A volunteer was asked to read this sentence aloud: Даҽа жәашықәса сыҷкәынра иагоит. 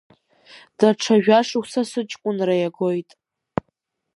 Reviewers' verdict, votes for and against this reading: rejected, 1, 2